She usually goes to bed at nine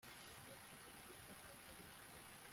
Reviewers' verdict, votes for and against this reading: rejected, 1, 2